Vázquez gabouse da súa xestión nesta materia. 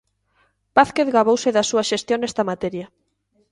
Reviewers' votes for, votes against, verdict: 2, 0, accepted